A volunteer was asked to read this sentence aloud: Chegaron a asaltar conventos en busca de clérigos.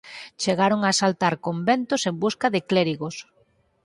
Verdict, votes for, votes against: accepted, 8, 0